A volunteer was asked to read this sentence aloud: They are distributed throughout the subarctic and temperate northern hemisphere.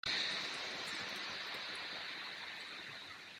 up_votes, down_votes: 0, 2